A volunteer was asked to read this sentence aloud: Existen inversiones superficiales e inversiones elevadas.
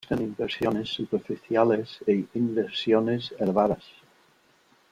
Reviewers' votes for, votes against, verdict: 1, 2, rejected